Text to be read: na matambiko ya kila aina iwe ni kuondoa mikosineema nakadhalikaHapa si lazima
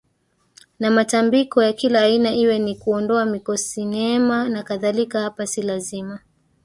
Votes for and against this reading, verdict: 2, 1, accepted